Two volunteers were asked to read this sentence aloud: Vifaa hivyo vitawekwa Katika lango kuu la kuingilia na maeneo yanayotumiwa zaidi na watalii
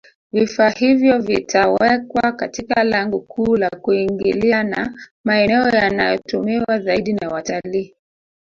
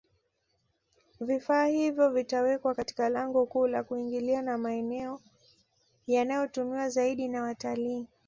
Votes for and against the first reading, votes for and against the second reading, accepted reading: 1, 2, 2, 0, second